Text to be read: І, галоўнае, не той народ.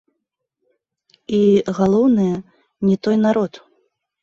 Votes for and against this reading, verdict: 1, 2, rejected